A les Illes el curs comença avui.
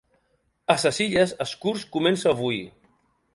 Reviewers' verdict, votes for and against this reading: rejected, 1, 2